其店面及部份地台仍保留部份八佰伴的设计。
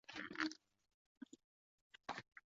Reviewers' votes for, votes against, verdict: 2, 4, rejected